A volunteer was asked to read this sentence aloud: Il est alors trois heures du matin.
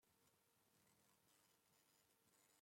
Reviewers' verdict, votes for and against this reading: rejected, 1, 2